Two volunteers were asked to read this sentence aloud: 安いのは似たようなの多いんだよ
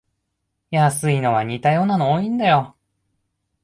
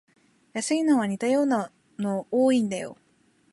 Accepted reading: first